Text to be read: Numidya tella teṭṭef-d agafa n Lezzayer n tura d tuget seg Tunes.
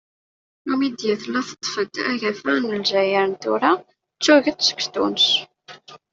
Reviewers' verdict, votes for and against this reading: rejected, 1, 2